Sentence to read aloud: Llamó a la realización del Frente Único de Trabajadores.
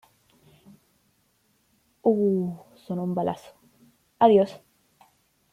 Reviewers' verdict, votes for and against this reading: rejected, 0, 2